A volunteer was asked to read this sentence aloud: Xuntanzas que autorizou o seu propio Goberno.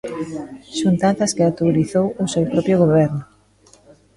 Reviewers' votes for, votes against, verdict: 0, 2, rejected